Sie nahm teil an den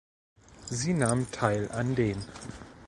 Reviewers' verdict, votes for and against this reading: accepted, 2, 0